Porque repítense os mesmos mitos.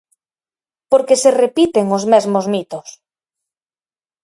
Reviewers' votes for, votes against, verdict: 2, 4, rejected